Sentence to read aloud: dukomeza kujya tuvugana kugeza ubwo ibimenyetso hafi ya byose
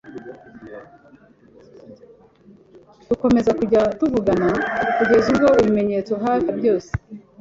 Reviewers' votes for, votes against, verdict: 2, 0, accepted